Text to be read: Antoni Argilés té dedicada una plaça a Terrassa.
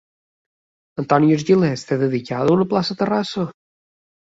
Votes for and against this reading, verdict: 1, 2, rejected